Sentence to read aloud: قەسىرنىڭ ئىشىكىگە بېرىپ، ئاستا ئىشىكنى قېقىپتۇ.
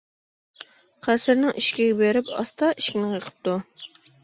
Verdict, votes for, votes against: rejected, 1, 2